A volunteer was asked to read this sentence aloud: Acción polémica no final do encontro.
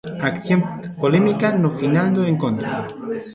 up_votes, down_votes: 1, 2